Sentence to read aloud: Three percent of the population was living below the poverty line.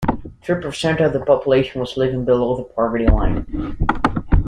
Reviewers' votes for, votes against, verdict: 2, 0, accepted